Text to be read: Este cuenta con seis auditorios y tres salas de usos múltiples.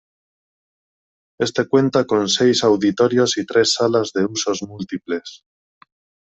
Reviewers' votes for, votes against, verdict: 2, 1, accepted